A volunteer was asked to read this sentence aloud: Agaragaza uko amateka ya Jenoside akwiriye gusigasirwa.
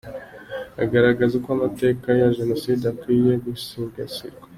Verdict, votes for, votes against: accepted, 3, 0